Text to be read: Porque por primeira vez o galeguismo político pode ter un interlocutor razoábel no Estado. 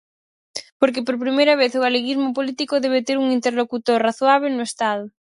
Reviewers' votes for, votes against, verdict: 2, 4, rejected